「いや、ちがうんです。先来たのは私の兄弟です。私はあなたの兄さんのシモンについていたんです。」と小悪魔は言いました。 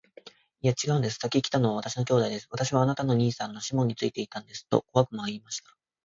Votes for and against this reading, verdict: 5, 0, accepted